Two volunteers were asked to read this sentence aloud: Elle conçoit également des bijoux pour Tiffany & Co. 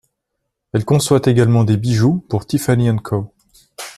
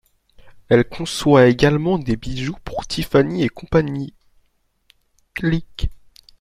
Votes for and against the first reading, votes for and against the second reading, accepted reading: 2, 0, 0, 2, first